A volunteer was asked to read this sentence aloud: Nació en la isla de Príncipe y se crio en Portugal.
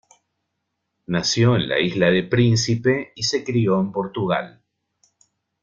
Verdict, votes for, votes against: accepted, 2, 0